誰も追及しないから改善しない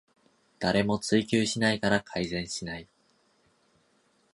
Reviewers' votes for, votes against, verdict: 2, 0, accepted